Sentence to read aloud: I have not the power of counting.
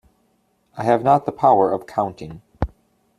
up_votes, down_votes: 2, 0